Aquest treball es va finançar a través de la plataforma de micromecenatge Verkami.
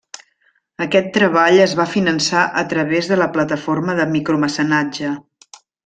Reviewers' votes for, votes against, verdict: 0, 2, rejected